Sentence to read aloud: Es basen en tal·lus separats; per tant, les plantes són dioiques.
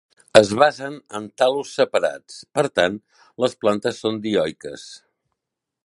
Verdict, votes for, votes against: accepted, 2, 0